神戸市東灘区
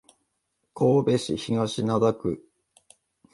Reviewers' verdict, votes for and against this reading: accepted, 2, 0